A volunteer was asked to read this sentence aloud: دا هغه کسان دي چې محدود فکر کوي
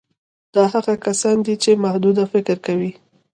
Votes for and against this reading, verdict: 1, 2, rejected